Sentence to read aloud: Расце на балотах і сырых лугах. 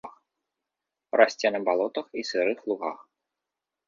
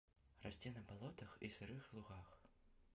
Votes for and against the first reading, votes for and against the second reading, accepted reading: 2, 0, 0, 2, first